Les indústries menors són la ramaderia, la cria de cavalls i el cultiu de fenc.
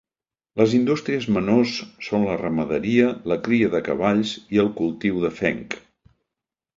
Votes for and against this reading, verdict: 3, 0, accepted